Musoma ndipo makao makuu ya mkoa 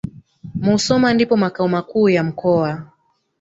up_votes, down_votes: 1, 2